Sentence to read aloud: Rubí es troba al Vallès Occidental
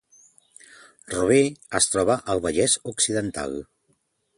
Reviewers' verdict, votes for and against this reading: accepted, 2, 1